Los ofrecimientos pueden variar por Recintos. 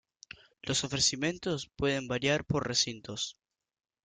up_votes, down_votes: 2, 1